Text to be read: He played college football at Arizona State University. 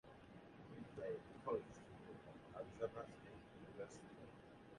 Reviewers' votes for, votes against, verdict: 2, 1, accepted